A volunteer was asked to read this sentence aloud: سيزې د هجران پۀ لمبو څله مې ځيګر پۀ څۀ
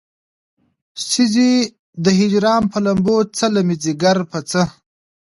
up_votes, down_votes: 2, 0